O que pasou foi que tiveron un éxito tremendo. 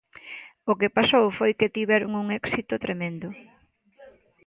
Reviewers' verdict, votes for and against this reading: accepted, 2, 0